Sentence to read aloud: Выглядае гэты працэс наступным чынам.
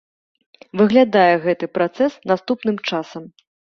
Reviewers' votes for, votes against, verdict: 0, 2, rejected